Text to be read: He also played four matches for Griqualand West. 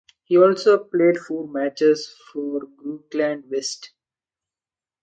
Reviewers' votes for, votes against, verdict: 0, 2, rejected